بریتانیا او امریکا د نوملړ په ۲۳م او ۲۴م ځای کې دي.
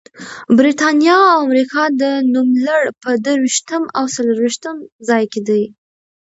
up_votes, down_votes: 0, 2